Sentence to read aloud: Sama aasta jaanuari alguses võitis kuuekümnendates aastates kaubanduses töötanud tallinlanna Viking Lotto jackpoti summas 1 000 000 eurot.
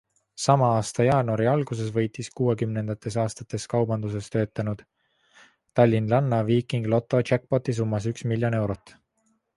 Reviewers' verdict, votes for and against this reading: rejected, 0, 2